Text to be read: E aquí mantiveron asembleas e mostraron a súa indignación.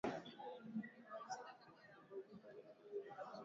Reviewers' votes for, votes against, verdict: 0, 2, rejected